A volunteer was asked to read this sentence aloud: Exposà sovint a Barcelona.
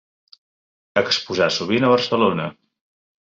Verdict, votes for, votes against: accepted, 3, 0